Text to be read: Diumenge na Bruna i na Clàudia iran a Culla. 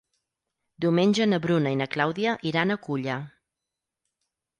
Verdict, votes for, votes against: rejected, 2, 4